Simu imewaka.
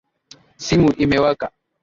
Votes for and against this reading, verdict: 2, 0, accepted